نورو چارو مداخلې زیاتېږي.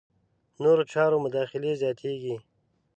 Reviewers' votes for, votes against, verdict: 2, 0, accepted